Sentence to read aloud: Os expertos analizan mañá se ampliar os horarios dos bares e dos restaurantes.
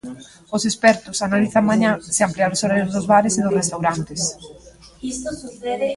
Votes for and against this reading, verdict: 0, 2, rejected